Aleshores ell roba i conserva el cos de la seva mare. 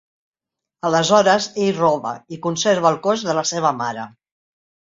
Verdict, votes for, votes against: accepted, 2, 0